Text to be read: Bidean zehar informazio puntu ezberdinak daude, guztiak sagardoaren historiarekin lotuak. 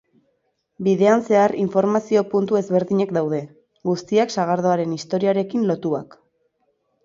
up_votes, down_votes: 2, 0